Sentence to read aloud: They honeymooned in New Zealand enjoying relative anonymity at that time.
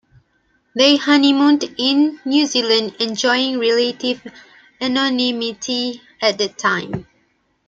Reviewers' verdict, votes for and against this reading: rejected, 1, 2